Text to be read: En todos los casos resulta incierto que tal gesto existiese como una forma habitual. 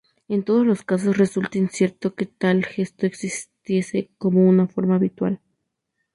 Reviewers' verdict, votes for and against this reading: rejected, 0, 2